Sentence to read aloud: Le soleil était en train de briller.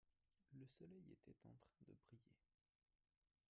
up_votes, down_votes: 0, 2